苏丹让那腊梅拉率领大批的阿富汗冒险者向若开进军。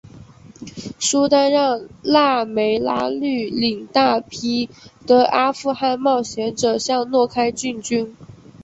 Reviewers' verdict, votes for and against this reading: rejected, 2, 3